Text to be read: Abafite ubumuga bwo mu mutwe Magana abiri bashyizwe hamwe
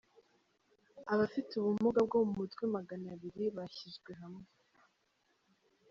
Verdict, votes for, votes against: rejected, 0, 2